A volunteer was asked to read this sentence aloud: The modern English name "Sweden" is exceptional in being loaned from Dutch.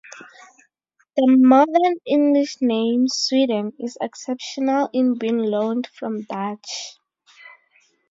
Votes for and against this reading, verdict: 2, 0, accepted